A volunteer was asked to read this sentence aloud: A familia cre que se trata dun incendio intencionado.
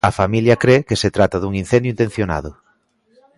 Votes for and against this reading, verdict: 1, 2, rejected